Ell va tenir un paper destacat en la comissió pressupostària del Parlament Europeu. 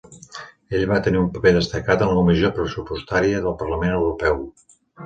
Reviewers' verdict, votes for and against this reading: rejected, 0, 2